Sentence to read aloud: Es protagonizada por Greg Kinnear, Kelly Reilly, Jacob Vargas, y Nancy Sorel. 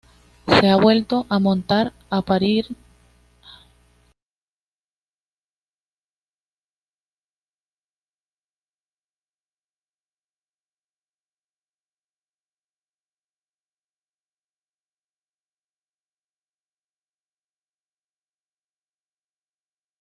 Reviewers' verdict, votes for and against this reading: rejected, 1, 2